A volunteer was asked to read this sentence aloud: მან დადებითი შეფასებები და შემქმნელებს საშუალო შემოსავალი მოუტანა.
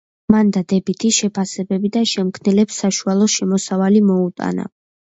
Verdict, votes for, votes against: accepted, 2, 0